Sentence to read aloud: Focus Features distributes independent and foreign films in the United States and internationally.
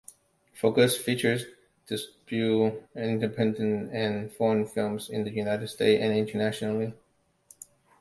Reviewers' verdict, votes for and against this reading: rejected, 0, 2